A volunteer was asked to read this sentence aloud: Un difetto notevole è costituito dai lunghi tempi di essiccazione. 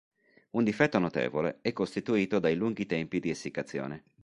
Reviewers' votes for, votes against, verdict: 3, 0, accepted